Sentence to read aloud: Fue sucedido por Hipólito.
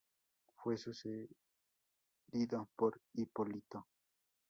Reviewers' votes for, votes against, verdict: 2, 4, rejected